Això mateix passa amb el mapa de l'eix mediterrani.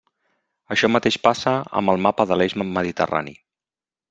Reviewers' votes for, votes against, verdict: 0, 2, rejected